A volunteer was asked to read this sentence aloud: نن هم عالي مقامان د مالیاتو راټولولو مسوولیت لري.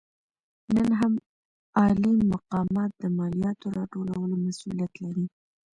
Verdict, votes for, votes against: accepted, 2, 0